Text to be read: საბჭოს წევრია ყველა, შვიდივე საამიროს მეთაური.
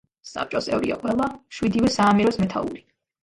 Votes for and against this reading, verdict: 2, 0, accepted